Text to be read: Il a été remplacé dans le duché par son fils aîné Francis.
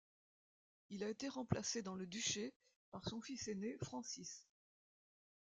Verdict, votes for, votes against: accepted, 2, 0